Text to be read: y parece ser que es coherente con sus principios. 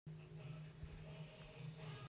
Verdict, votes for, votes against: rejected, 0, 2